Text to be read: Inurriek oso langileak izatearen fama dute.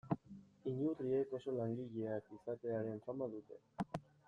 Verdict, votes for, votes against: accepted, 2, 0